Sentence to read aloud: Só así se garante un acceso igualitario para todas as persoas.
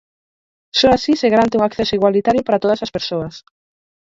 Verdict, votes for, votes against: accepted, 4, 0